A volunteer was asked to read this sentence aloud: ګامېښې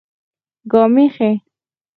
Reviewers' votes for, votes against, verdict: 4, 2, accepted